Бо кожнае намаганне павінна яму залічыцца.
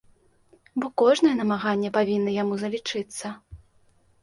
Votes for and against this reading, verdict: 2, 0, accepted